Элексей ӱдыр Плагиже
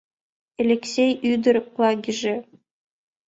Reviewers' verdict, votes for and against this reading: accepted, 2, 0